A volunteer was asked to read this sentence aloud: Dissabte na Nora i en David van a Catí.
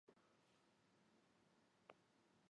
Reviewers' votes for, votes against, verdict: 0, 2, rejected